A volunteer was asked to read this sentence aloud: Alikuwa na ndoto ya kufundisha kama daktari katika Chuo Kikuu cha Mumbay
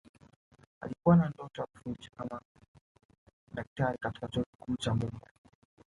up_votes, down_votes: 0, 2